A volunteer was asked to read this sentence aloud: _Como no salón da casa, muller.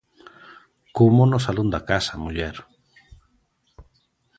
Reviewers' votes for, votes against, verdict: 2, 0, accepted